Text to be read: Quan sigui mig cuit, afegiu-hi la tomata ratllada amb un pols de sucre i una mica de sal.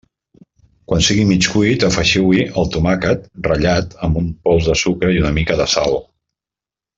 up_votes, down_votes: 0, 2